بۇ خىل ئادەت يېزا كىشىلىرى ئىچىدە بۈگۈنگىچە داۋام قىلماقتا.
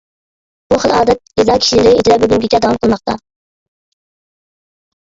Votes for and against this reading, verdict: 0, 2, rejected